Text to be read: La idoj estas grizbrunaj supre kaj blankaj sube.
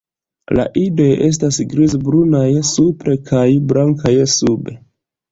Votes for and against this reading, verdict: 0, 2, rejected